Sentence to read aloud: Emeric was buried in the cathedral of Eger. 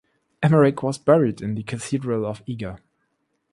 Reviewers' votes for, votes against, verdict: 2, 0, accepted